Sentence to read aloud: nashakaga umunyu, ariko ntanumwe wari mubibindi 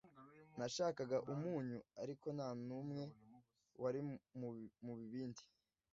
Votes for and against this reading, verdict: 0, 2, rejected